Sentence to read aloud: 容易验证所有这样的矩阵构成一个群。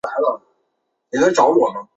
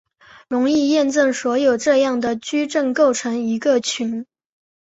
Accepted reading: second